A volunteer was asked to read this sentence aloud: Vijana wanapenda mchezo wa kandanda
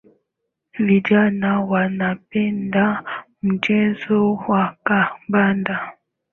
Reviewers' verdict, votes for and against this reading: accepted, 2, 1